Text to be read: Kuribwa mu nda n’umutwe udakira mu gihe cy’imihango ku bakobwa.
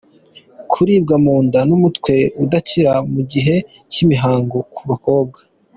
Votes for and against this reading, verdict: 2, 0, accepted